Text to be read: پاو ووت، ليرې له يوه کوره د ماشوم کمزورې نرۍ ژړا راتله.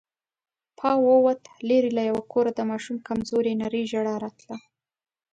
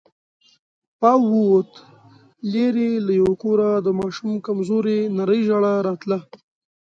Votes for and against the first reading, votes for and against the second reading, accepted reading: 2, 0, 1, 2, first